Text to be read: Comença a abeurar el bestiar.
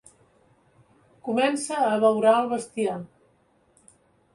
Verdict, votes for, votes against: accepted, 2, 0